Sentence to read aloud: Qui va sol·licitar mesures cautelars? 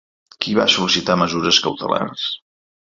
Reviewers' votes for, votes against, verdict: 2, 0, accepted